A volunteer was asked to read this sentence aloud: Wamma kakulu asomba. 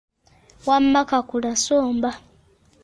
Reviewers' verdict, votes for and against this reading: rejected, 0, 2